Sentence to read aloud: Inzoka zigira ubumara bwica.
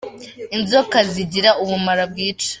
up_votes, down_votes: 2, 0